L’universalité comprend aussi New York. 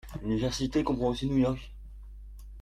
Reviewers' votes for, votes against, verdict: 0, 2, rejected